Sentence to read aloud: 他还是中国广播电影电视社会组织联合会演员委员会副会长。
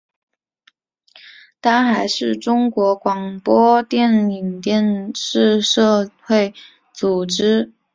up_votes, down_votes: 2, 0